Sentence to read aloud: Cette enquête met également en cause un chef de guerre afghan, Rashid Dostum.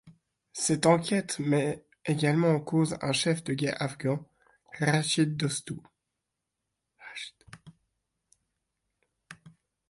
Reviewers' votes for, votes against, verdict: 0, 2, rejected